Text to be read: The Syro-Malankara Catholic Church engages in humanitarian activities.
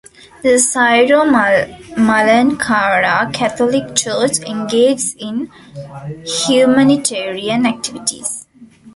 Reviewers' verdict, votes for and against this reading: rejected, 0, 2